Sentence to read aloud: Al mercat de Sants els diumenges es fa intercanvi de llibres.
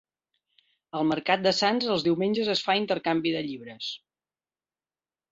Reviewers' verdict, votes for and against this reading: accepted, 3, 0